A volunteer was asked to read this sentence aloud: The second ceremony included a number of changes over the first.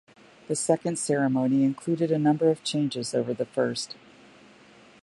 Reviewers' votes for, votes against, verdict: 2, 0, accepted